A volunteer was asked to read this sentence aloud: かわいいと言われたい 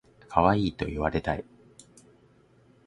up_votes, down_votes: 2, 0